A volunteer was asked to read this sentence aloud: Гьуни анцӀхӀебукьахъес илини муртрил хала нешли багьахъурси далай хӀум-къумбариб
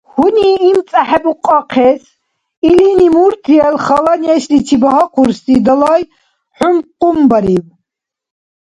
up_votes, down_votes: 1, 2